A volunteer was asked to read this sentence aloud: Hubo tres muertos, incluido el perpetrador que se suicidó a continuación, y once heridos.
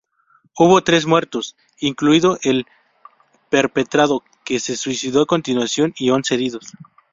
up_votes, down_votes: 0, 2